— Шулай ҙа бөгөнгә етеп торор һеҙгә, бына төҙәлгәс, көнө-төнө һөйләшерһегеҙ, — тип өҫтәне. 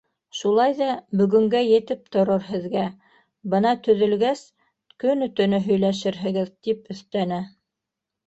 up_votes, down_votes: 1, 2